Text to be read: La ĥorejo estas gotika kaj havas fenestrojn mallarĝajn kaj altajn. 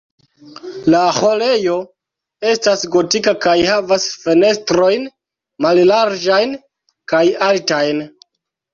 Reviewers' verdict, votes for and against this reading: rejected, 0, 2